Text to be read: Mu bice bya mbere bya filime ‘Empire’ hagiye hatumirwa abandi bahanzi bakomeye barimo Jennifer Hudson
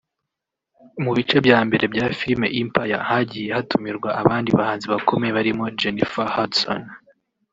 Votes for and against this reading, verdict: 0, 2, rejected